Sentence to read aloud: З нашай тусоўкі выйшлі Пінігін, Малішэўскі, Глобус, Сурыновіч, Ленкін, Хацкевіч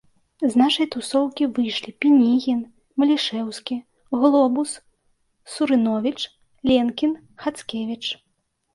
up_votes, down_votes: 2, 0